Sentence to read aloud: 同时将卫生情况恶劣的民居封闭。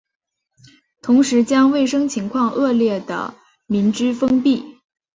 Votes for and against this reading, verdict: 4, 0, accepted